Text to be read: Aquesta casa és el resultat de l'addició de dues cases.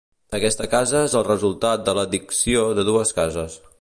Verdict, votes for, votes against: rejected, 1, 2